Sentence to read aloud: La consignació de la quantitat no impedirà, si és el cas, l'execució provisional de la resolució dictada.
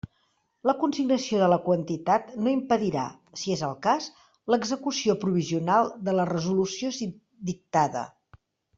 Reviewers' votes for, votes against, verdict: 0, 2, rejected